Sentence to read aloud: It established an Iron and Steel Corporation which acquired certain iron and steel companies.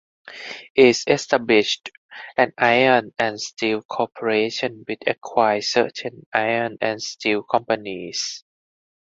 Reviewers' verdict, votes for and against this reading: rejected, 2, 2